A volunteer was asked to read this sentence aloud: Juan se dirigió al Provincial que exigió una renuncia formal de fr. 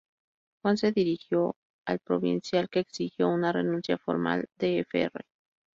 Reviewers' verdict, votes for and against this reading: rejected, 0, 2